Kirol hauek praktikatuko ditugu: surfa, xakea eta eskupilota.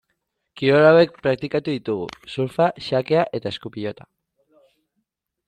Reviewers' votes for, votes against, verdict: 1, 2, rejected